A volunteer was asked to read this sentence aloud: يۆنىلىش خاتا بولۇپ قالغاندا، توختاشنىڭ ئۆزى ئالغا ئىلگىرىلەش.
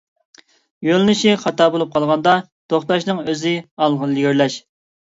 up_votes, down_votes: 0, 2